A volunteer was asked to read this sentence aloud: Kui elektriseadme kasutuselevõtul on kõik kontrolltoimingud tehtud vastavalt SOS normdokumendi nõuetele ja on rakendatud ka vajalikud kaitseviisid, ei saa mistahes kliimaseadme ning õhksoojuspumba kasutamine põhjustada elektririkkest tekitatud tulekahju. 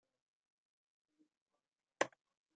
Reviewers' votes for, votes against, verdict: 1, 2, rejected